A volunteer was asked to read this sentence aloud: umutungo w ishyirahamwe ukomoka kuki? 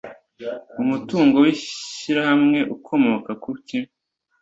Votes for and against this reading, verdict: 2, 0, accepted